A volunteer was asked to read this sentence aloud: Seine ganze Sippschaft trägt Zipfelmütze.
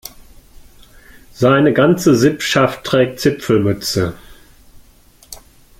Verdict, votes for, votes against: accepted, 2, 0